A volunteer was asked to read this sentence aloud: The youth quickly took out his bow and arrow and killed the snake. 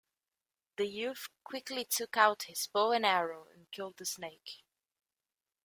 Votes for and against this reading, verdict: 2, 0, accepted